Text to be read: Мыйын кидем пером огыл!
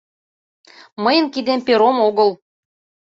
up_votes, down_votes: 2, 0